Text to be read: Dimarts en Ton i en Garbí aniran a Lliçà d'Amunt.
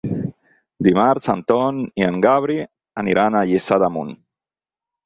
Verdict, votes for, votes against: rejected, 0, 4